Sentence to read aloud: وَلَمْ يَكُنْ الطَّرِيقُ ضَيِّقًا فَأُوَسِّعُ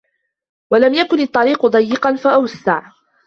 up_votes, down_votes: 2, 1